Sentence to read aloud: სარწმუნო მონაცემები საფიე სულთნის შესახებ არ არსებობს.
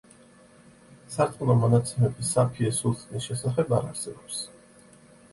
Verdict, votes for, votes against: accepted, 2, 0